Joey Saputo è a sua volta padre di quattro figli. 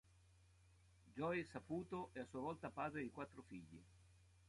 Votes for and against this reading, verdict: 2, 0, accepted